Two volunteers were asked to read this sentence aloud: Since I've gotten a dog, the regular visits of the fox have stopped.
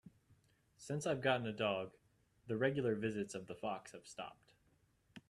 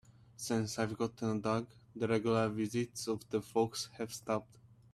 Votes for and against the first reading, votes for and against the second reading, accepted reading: 2, 0, 2, 3, first